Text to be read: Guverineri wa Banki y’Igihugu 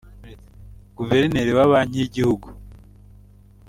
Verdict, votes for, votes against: accepted, 2, 0